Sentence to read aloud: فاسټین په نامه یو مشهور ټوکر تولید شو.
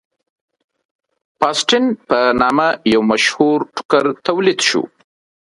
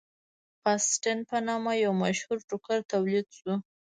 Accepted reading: first